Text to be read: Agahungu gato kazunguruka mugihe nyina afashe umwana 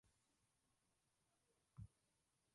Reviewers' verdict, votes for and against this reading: rejected, 0, 2